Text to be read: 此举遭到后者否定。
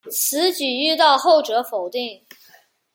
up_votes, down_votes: 1, 2